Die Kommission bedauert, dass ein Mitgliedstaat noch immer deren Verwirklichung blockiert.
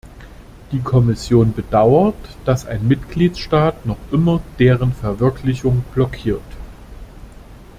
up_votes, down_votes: 2, 0